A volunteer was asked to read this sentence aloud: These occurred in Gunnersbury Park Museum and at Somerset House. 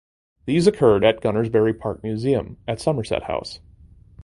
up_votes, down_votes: 2, 0